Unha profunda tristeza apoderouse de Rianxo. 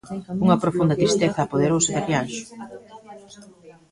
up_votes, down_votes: 2, 1